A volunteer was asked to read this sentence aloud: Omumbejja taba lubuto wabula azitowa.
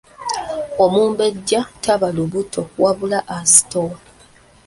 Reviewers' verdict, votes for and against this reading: rejected, 1, 2